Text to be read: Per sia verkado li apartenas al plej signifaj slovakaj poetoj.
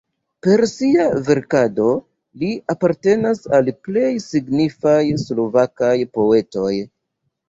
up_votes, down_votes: 1, 2